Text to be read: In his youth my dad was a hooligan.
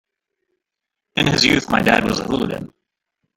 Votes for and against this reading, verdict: 1, 2, rejected